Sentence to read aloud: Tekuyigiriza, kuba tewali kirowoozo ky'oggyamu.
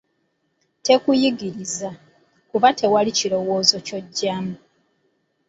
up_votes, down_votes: 0, 2